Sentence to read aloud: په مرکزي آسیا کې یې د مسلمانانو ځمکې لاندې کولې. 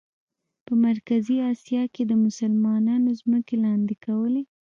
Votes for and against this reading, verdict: 1, 2, rejected